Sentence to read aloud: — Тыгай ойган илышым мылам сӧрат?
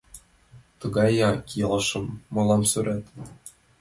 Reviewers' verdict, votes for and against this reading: rejected, 0, 2